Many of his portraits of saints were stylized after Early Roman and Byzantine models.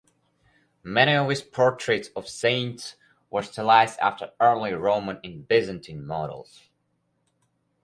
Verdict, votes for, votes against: accepted, 4, 2